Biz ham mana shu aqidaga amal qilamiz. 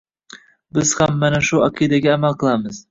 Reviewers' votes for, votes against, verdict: 1, 2, rejected